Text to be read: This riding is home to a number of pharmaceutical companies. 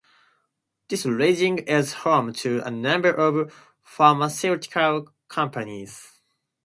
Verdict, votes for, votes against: accepted, 2, 0